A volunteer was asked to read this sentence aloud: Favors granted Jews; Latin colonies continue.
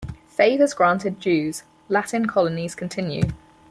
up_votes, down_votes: 4, 2